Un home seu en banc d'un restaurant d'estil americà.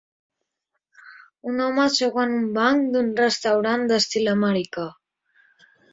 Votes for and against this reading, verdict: 2, 1, accepted